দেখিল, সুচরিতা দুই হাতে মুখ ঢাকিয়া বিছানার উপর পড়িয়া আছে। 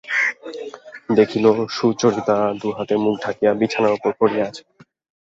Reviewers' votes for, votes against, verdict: 2, 0, accepted